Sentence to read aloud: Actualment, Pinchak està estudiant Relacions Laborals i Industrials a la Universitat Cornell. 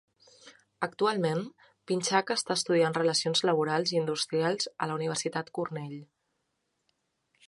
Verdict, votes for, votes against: accepted, 3, 0